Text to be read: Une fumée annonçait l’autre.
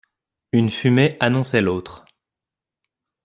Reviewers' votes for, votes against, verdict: 2, 0, accepted